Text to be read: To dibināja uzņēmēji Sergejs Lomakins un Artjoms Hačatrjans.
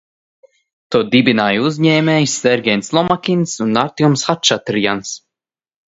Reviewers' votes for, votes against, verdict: 0, 2, rejected